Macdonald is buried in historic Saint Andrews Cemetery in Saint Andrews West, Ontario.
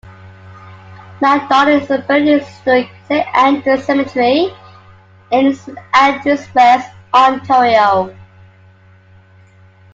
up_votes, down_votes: 0, 2